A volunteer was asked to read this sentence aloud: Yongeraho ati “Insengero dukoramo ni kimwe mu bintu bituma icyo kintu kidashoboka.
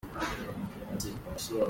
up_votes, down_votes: 0, 2